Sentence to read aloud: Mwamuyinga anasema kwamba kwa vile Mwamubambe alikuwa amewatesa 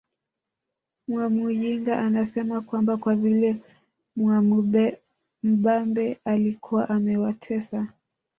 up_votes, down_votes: 1, 2